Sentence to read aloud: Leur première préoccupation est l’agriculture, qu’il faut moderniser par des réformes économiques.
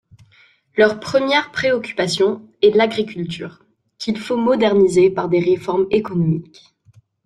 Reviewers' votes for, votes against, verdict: 1, 2, rejected